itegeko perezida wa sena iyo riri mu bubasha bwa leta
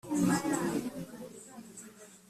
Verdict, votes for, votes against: rejected, 0, 2